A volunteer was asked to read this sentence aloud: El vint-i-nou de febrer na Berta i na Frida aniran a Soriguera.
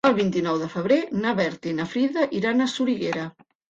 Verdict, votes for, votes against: rejected, 0, 2